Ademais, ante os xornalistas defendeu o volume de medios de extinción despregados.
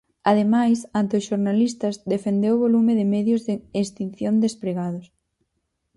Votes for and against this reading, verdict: 0, 4, rejected